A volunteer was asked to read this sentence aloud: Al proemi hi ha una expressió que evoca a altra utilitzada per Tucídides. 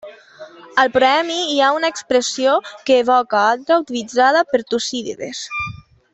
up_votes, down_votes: 2, 0